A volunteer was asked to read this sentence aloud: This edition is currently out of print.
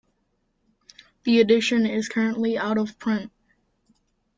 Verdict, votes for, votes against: rejected, 0, 2